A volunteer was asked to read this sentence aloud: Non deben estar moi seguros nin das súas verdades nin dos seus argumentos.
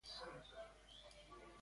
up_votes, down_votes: 0, 2